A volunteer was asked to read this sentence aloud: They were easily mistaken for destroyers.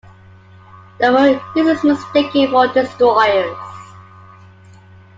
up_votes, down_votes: 0, 2